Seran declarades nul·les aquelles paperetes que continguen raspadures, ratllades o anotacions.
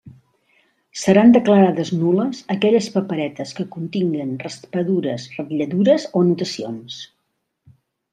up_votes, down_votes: 0, 2